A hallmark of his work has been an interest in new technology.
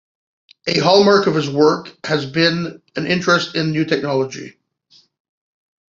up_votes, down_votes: 2, 1